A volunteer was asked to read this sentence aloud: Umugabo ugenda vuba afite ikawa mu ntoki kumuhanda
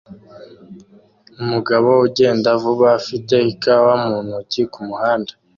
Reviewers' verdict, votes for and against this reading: accepted, 2, 0